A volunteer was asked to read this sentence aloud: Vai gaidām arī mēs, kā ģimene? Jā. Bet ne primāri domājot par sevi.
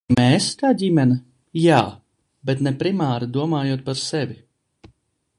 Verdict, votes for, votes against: rejected, 0, 2